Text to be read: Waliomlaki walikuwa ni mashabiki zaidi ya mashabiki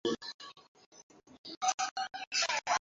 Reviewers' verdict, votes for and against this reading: rejected, 0, 2